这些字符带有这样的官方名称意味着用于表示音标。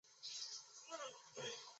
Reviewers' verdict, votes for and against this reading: accepted, 4, 1